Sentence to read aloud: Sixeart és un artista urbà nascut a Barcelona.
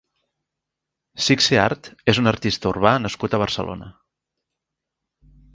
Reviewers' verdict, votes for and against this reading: accepted, 2, 0